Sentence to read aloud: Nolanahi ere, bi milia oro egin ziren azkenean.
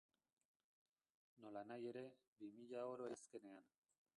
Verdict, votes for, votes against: rejected, 0, 2